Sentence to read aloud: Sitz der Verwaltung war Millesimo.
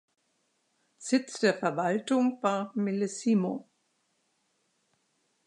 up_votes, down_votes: 2, 0